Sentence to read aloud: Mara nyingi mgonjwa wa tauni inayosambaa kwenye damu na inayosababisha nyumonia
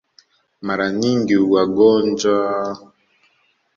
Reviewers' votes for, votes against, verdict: 1, 2, rejected